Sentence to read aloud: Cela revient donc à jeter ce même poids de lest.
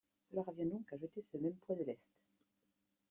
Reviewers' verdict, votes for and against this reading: accepted, 2, 0